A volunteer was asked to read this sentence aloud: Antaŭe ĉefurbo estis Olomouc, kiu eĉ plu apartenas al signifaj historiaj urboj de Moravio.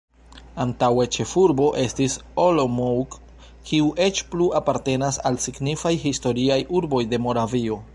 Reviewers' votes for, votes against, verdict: 1, 2, rejected